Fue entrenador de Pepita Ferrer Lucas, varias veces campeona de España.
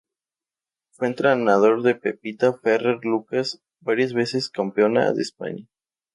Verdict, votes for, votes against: accepted, 2, 0